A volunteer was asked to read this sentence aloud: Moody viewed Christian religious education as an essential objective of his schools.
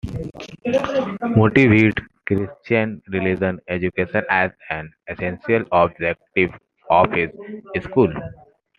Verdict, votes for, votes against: accepted, 2, 1